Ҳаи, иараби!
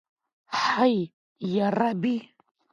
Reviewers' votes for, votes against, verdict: 1, 2, rejected